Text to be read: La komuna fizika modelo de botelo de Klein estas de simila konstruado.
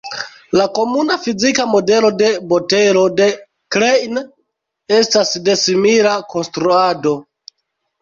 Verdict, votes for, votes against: rejected, 1, 2